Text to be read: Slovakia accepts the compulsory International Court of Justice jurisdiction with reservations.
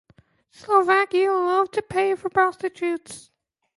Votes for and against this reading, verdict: 0, 2, rejected